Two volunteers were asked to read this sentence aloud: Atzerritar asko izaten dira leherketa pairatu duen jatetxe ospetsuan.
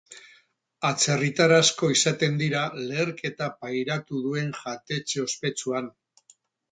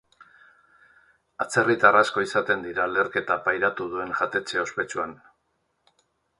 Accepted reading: second